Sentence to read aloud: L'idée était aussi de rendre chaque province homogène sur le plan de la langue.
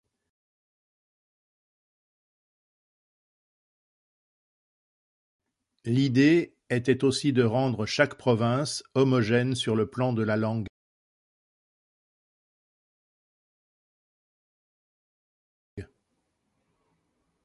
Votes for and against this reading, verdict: 2, 0, accepted